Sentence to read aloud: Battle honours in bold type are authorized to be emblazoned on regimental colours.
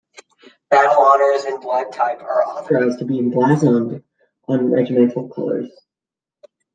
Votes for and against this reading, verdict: 0, 2, rejected